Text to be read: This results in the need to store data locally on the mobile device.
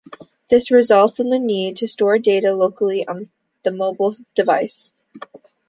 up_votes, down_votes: 2, 0